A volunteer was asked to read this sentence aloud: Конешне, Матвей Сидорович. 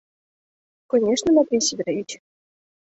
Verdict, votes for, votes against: rejected, 0, 2